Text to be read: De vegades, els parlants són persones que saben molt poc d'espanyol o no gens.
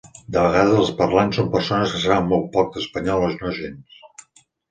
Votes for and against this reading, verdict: 3, 1, accepted